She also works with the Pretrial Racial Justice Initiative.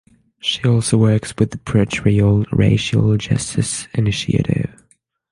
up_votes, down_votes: 6, 0